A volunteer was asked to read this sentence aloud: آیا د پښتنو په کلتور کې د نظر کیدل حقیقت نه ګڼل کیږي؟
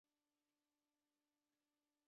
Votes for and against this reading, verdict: 0, 2, rejected